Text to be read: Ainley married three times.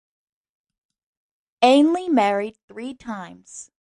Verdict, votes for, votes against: accepted, 2, 0